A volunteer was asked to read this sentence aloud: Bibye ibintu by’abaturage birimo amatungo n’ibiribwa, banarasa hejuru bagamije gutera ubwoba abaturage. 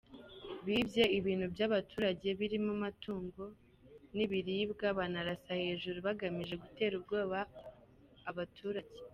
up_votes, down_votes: 2, 0